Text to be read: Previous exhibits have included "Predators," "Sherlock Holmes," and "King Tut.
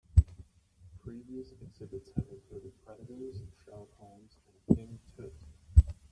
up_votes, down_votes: 0, 2